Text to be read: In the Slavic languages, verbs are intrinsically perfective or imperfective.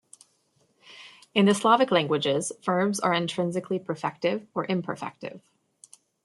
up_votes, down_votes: 2, 0